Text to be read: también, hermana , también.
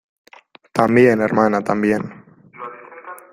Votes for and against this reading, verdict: 1, 2, rejected